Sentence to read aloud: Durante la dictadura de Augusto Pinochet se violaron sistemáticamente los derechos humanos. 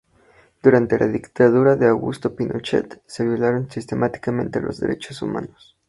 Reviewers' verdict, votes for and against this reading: accepted, 4, 0